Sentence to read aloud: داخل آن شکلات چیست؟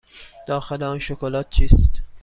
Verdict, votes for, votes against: accepted, 2, 0